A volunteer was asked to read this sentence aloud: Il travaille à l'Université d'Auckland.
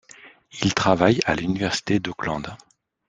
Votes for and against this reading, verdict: 2, 0, accepted